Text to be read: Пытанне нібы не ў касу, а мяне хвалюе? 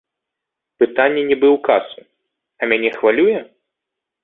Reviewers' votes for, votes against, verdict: 1, 2, rejected